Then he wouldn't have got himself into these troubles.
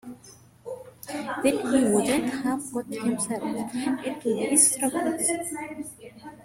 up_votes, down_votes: 2, 0